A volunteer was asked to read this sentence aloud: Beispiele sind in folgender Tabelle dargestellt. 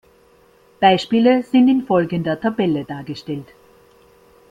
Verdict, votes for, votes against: accepted, 2, 0